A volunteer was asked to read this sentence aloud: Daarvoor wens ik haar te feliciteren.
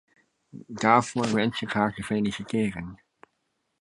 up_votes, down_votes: 2, 0